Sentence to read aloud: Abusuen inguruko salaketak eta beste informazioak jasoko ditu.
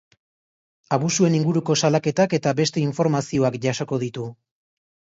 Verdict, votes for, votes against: accepted, 2, 0